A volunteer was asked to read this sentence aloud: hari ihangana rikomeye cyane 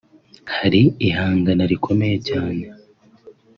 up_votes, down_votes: 2, 0